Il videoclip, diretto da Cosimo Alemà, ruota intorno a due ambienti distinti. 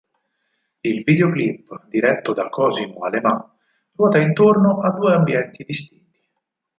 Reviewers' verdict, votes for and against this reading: accepted, 4, 2